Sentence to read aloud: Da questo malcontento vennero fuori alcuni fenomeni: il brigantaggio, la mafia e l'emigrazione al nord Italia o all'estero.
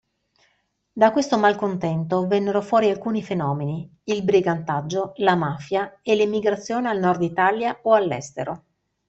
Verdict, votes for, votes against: accepted, 2, 0